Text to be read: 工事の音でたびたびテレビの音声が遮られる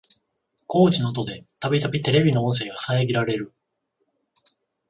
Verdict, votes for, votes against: accepted, 14, 7